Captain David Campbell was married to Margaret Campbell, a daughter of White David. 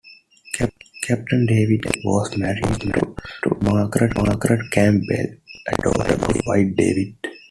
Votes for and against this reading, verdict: 0, 2, rejected